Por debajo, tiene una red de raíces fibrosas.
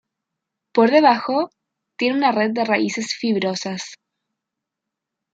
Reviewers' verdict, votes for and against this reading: accepted, 2, 1